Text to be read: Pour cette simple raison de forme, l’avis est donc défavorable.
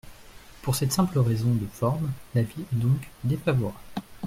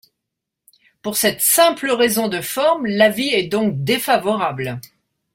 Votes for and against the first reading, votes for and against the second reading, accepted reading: 1, 2, 2, 0, second